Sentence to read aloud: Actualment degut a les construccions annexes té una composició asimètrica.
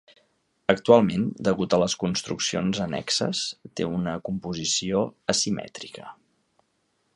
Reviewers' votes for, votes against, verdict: 3, 0, accepted